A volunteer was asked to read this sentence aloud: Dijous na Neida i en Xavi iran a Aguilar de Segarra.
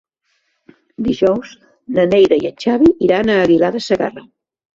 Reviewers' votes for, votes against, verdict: 2, 1, accepted